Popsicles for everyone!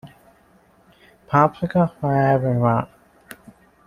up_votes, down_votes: 0, 2